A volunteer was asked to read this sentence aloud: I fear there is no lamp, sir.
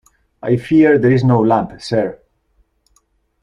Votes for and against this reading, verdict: 2, 0, accepted